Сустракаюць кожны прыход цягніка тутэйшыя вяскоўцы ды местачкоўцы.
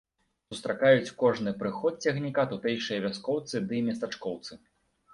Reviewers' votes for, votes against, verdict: 2, 0, accepted